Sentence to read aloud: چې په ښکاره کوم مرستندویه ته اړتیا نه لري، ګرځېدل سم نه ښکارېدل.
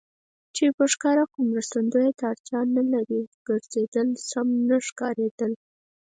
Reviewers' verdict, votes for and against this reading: rejected, 2, 4